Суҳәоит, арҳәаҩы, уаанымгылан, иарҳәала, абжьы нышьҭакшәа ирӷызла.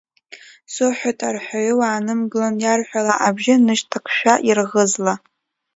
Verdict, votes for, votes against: rejected, 0, 2